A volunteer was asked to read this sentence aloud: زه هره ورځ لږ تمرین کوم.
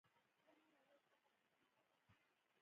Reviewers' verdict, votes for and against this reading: accepted, 2, 0